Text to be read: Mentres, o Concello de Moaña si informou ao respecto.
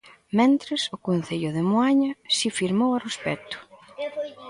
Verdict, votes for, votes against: rejected, 0, 2